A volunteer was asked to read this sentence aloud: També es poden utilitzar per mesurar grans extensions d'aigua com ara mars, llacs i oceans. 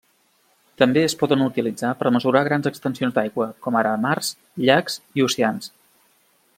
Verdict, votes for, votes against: accepted, 2, 0